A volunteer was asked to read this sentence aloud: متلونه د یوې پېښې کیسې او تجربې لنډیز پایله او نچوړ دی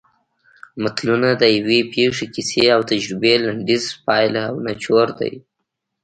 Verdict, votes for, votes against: accepted, 3, 0